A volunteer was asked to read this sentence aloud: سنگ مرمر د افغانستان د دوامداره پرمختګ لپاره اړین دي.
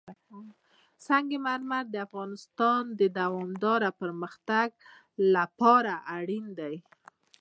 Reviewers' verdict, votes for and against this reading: accepted, 2, 0